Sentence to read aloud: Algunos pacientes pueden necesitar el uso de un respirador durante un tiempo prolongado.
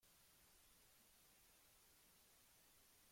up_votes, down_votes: 0, 2